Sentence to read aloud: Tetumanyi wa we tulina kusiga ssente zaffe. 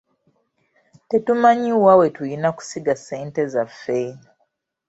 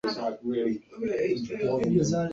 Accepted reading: first